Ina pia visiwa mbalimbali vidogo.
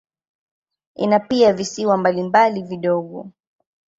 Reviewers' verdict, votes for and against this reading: accepted, 2, 0